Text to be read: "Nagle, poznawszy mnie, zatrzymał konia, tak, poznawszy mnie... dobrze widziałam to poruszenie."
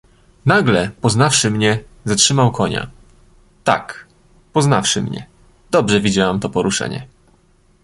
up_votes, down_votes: 2, 0